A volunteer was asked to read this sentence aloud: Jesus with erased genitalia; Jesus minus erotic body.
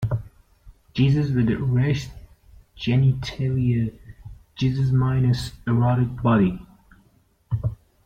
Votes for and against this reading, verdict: 2, 1, accepted